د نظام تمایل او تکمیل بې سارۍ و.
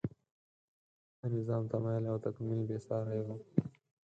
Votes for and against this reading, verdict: 2, 4, rejected